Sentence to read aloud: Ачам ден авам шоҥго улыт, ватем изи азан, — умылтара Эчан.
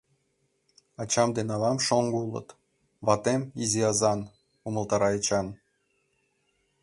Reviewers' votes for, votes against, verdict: 2, 0, accepted